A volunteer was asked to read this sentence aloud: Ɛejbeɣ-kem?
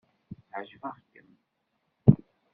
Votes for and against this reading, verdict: 0, 2, rejected